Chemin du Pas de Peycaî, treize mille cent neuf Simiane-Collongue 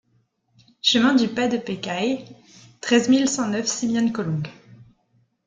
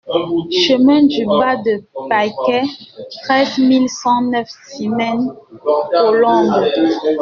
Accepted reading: first